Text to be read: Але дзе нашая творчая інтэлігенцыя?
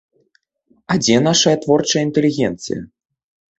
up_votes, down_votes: 1, 2